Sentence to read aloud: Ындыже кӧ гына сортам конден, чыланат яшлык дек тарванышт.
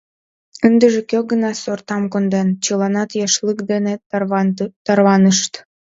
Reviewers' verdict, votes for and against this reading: rejected, 0, 2